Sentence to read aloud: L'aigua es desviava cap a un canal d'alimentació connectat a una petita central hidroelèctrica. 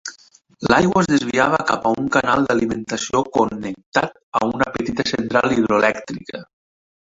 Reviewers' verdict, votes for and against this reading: accepted, 3, 0